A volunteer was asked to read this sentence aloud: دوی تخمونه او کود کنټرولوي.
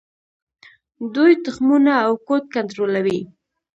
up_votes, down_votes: 1, 2